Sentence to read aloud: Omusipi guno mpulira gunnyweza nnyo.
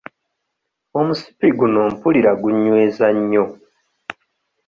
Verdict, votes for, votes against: accepted, 2, 0